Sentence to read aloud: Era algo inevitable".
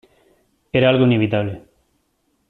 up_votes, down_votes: 2, 0